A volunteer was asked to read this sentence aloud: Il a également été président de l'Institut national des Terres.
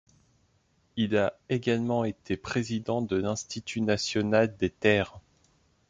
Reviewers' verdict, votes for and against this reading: accepted, 2, 0